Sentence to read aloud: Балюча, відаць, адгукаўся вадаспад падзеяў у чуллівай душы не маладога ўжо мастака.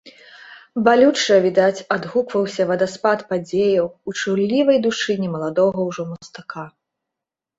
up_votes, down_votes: 1, 2